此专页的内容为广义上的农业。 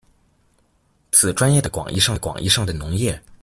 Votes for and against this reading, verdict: 0, 2, rejected